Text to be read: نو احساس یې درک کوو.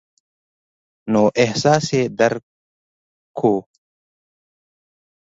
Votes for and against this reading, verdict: 1, 2, rejected